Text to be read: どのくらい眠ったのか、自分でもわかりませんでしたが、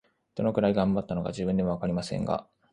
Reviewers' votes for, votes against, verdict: 1, 3, rejected